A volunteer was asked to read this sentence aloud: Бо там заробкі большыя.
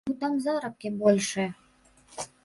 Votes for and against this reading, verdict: 1, 2, rejected